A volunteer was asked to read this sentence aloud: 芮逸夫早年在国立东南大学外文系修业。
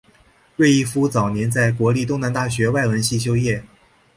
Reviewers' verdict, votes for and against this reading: accepted, 4, 2